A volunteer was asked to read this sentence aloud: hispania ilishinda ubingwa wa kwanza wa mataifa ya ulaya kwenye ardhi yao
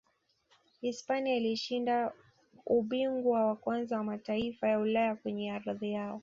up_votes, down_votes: 2, 0